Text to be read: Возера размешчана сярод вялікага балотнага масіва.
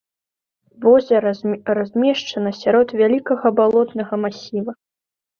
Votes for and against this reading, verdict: 2, 0, accepted